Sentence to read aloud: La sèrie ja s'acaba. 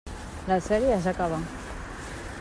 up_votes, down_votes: 1, 2